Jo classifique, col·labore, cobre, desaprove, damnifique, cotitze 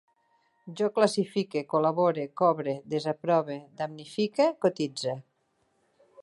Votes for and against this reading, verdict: 3, 0, accepted